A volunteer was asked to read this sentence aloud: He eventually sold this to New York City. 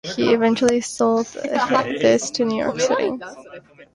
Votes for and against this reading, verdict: 1, 2, rejected